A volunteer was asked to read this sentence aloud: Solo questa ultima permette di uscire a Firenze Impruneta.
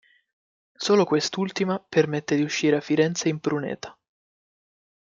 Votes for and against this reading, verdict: 2, 0, accepted